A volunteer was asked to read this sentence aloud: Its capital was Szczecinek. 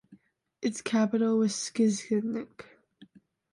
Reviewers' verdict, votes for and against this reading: rejected, 0, 2